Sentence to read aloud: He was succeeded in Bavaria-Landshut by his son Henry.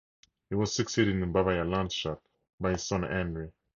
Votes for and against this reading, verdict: 2, 2, rejected